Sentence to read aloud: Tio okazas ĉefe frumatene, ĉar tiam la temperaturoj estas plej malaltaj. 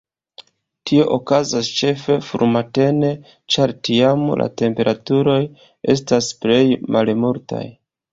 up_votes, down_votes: 1, 2